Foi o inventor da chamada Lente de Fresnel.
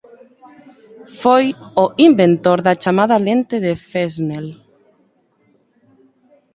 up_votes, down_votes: 0, 2